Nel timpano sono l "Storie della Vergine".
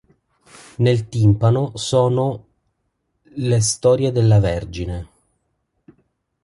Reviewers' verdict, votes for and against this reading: rejected, 0, 3